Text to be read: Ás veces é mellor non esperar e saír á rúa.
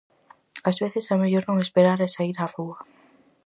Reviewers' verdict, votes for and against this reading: accepted, 4, 0